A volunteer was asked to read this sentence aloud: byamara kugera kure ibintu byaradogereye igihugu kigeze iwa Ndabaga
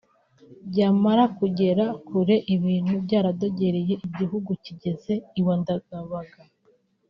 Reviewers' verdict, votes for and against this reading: rejected, 0, 2